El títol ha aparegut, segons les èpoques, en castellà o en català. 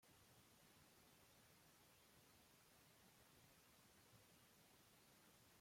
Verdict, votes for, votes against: rejected, 0, 2